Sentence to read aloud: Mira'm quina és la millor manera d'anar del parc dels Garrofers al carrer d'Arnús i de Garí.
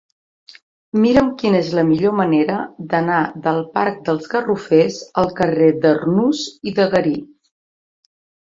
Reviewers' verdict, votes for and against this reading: accepted, 2, 0